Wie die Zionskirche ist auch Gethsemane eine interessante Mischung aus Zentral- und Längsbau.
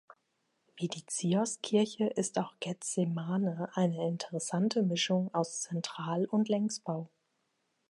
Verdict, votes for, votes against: rejected, 0, 2